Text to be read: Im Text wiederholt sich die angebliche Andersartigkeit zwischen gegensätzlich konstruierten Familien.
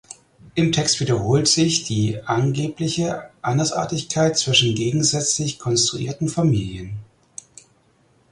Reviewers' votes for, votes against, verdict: 4, 0, accepted